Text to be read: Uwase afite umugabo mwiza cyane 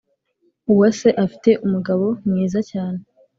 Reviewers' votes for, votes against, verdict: 3, 0, accepted